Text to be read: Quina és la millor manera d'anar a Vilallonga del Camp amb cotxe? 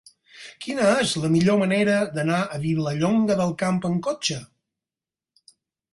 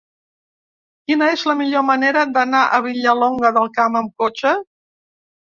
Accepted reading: first